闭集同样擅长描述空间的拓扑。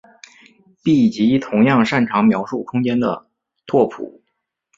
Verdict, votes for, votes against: accepted, 5, 1